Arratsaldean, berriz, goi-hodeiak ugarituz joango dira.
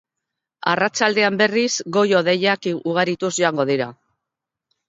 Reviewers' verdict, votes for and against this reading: accepted, 2, 0